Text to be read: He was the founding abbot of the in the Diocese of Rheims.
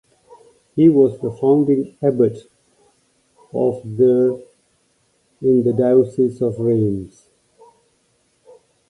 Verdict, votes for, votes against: accepted, 2, 0